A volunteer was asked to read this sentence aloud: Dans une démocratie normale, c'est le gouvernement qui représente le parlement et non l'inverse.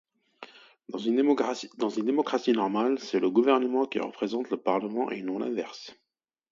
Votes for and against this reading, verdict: 0, 2, rejected